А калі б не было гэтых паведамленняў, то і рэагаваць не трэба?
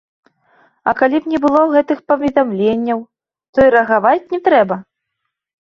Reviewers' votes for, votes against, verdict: 2, 0, accepted